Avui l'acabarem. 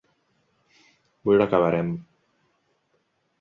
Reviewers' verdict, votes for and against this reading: rejected, 0, 2